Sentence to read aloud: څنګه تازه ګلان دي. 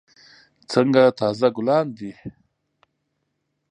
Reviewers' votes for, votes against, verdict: 2, 0, accepted